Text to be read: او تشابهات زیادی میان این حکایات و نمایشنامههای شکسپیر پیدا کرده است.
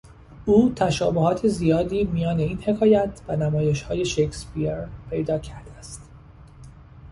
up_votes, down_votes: 1, 2